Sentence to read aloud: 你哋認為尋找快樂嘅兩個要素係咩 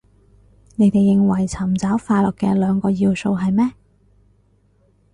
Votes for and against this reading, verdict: 6, 0, accepted